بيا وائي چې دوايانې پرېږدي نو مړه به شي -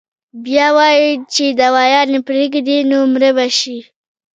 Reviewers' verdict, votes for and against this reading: rejected, 1, 2